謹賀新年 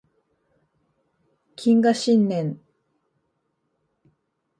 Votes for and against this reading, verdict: 2, 0, accepted